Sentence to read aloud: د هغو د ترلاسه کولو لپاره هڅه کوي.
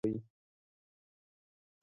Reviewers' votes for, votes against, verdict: 0, 2, rejected